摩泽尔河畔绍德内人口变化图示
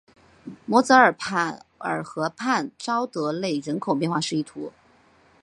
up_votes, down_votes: 1, 2